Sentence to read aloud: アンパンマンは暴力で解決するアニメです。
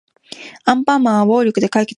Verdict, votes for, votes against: rejected, 0, 2